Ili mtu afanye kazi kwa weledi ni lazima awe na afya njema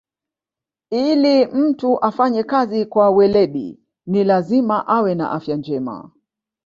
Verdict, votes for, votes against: accepted, 2, 0